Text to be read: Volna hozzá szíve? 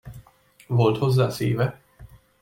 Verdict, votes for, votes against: rejected, 0, 2